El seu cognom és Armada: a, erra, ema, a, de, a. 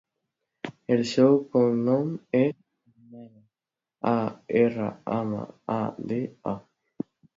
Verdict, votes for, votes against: rejected, 0, 2